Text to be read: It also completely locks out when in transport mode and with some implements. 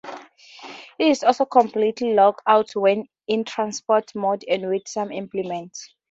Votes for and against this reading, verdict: 0, 2, rejected